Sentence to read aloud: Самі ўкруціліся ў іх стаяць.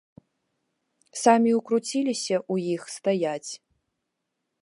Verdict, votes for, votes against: accepted, 2, 0